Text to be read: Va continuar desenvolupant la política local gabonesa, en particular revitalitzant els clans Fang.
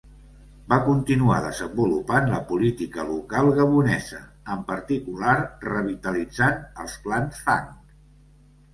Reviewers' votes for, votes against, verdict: 3, 0, accepted